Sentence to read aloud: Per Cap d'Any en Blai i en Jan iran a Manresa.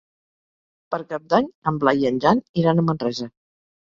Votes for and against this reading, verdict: 2, 0, accepted